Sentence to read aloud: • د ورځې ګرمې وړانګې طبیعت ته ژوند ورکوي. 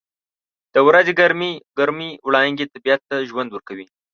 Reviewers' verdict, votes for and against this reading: rejected, 0, 2